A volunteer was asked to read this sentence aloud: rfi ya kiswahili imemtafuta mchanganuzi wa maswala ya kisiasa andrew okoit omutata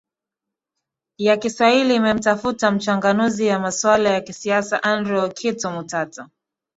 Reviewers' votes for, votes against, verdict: 1, 2, rejected